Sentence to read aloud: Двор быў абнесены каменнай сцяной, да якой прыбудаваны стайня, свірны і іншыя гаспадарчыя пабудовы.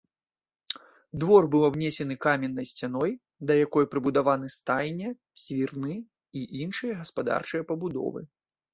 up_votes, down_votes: 1, 2